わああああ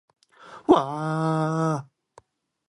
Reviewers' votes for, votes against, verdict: 3, 0, accepted